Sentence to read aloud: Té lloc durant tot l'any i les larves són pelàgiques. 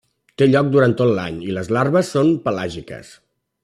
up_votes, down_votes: 3, 1